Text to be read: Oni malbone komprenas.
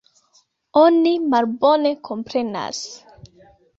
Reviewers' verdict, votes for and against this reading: rejected, 0, 2